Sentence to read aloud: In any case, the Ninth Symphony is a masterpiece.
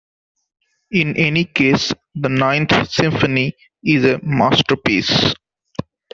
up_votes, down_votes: 1, 2